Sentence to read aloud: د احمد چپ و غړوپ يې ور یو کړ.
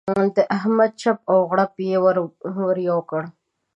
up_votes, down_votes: 1, 2